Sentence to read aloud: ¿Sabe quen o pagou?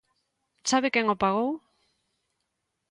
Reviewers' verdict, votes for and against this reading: accepted, 2, 0